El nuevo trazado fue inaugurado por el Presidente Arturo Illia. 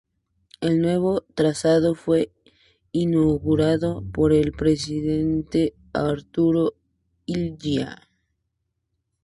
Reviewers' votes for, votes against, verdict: 2, 0, accepted